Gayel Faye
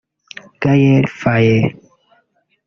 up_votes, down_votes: 1, 3